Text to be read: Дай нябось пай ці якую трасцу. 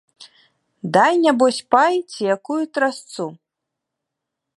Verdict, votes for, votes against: rejected, 1, 2